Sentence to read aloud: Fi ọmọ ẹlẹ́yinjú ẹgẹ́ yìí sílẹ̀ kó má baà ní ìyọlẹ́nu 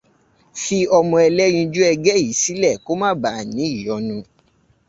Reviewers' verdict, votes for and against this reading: rejected, 0, 2